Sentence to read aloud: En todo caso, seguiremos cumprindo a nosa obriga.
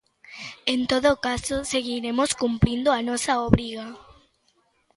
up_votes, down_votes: 2, 0